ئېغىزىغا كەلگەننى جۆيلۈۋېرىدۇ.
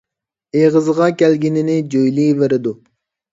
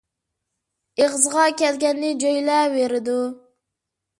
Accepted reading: first